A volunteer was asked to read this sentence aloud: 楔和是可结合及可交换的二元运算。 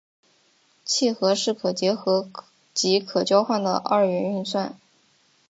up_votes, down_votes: 0, 2